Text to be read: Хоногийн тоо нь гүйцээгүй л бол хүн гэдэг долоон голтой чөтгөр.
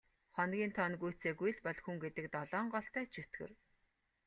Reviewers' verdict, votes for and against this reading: accepted, 2, 0